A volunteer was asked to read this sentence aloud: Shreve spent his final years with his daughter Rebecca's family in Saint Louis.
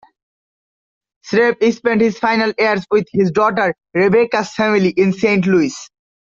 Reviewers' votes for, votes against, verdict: 1, 2, rejected